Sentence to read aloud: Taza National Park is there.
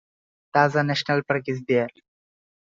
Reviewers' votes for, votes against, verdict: 2, 0, accepted